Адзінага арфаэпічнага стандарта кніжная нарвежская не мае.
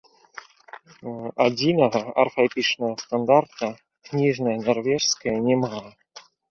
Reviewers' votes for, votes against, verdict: 3, 2, accepted